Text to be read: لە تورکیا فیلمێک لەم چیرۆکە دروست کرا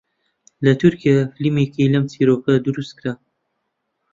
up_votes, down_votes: 1, 2